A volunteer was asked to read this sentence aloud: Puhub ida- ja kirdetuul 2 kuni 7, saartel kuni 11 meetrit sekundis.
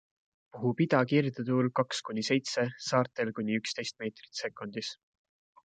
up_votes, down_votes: 0, 2